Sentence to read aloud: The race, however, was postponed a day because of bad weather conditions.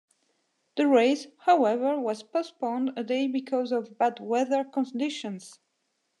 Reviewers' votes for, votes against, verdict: 2, 0, accepted